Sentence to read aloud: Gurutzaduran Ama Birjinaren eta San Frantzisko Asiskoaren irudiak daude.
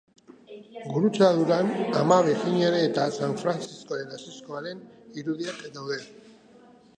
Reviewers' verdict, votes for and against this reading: rejected, 1, 2